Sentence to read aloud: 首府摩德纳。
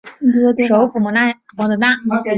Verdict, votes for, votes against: rejected, 0, 2